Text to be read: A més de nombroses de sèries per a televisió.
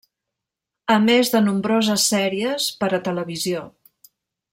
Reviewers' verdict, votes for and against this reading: rejected, 1, 2